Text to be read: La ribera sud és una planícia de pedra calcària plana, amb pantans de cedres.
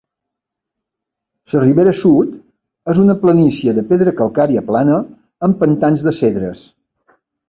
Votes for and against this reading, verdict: 0, 2, rejected